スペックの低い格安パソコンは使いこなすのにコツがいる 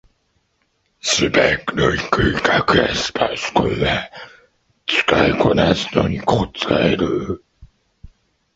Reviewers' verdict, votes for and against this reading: rejected, 2, 3